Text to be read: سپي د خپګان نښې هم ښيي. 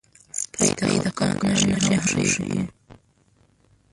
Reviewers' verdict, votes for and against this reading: rejected, 1, 2